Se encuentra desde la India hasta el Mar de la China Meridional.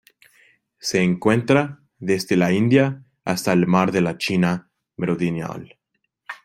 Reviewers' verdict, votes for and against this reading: rejected, 0, 2